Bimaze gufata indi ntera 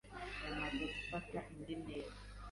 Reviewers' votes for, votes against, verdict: 1, 2, rejected